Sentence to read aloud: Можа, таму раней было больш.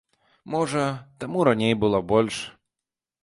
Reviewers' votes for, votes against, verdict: 2, 0, accepted